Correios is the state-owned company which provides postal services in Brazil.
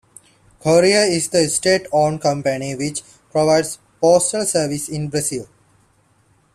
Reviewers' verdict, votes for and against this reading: accepted, 2, 1